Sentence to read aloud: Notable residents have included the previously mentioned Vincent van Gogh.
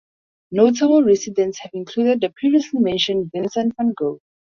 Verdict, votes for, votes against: rejected, 2, 2